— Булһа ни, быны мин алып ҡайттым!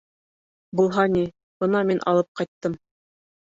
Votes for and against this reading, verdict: 0, 2, rejected